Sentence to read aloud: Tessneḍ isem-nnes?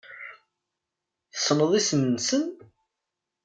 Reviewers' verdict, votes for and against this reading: rejected, 1, 2